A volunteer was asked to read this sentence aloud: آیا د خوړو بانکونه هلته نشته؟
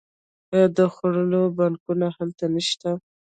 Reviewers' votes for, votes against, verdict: 0, 2, rejected